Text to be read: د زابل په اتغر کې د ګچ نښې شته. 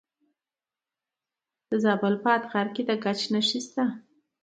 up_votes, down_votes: 2, 0